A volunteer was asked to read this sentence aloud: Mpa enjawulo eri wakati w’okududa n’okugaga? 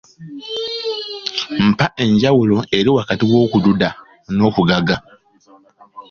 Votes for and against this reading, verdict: 2, 0, accepted